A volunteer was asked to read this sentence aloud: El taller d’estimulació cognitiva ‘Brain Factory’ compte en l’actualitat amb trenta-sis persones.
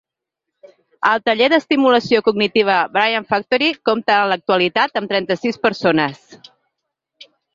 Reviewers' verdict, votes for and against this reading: accepted, 2, 0